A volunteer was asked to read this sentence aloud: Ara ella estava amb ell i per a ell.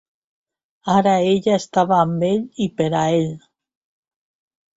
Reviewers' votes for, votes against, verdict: 3, 0, accepted